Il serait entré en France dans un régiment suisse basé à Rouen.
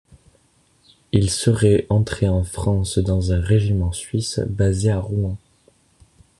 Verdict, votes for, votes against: accepted, 2, 0